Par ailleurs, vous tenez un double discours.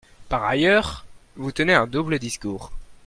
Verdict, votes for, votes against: accepted, 2, 0